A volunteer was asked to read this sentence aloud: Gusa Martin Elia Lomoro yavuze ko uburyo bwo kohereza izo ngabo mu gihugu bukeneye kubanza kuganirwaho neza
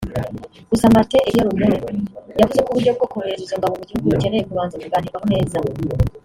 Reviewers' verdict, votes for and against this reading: rejected, 0, 2